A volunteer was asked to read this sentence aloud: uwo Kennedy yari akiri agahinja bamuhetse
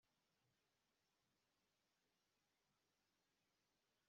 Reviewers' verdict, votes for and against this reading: rejected, 0, 2